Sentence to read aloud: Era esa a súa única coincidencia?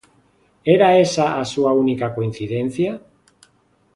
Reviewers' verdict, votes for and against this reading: accepted, 2, 0